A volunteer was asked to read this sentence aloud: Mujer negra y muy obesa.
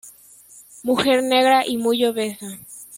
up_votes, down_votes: 2, 1